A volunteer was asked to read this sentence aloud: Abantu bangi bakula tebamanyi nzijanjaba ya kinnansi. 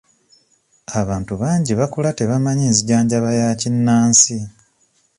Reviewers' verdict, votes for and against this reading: accepted, 2, 1